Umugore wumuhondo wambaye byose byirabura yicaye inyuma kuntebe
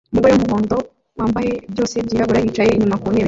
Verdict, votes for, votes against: rejected, 0, 2